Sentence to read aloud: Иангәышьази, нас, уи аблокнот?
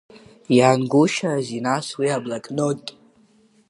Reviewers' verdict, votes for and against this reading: rejected, 1, 2